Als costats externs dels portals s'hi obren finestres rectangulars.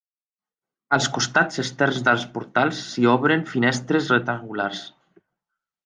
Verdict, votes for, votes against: accepted, 2, 0